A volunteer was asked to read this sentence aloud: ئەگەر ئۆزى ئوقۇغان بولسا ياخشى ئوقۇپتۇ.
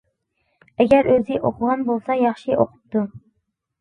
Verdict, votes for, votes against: accepted, 3, 0